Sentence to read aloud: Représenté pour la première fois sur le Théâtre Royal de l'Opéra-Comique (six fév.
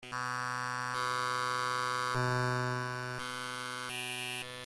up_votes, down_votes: 0, 2